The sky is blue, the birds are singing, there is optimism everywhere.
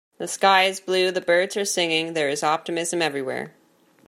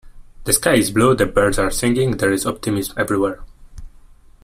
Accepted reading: first